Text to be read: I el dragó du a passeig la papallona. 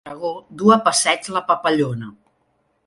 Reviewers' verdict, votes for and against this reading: rejected, 0, 2